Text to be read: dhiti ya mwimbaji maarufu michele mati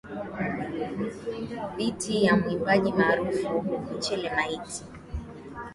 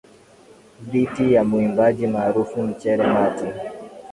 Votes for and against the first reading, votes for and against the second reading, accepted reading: 9, 16, 3, 0, second